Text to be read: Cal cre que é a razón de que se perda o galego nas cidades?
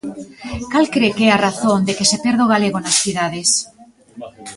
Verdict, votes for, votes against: accepted, 2, 1